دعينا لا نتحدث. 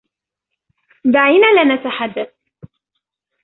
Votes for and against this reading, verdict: 2, 0, accepted